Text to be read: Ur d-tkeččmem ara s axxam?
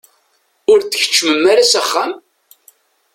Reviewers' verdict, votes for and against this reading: accepted, 2, 0